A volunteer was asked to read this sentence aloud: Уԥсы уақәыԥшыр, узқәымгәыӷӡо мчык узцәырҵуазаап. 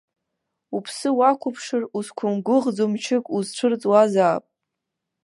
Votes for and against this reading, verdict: 1, 2, rejected